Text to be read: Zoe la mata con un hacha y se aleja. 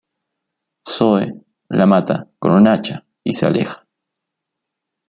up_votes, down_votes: 2, 0